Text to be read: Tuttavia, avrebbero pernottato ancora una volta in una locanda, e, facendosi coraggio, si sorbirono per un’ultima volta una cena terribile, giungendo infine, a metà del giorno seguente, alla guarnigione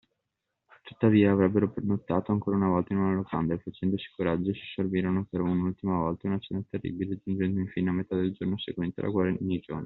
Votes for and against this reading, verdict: 1, 2, rejected